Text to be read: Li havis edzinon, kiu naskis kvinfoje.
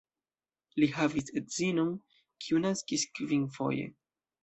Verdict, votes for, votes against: accepted, 2, 0